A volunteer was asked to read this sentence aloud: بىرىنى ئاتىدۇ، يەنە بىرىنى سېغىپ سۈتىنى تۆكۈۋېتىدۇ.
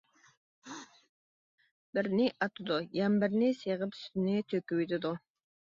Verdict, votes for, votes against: rejected, 1, 2